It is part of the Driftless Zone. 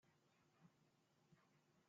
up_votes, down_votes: 0, 2